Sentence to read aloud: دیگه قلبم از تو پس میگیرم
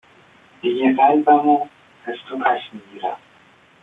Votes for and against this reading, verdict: 0, 2, rejected